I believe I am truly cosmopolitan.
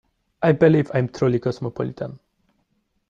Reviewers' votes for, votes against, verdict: 1, 3, rejected